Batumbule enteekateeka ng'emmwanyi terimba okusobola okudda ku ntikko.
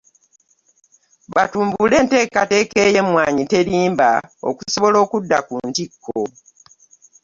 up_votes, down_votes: 2, 0